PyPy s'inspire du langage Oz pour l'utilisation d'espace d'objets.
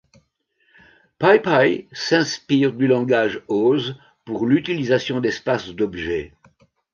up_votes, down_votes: 2, 0